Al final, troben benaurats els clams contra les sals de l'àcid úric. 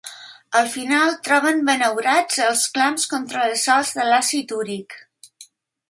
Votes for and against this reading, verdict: 2, 0, accepted